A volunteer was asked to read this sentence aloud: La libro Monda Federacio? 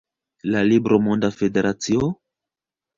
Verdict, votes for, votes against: accepted, 2, 1